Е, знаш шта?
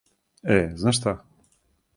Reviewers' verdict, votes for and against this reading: accepted, 4, 0